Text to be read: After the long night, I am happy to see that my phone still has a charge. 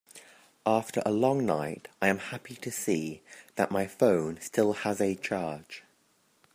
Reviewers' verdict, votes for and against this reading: rejected, 0, 2